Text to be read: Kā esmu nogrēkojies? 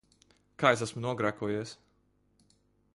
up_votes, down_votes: 2, 1